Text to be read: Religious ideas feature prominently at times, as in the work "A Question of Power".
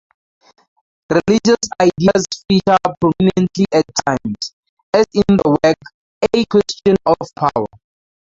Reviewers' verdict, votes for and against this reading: rejected, 0, 2